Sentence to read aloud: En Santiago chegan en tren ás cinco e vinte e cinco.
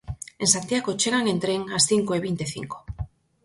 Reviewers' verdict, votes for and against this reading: accepted, 4, 0